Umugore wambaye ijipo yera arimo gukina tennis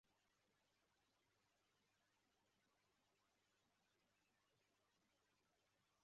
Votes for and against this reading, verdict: 0, 2, rejected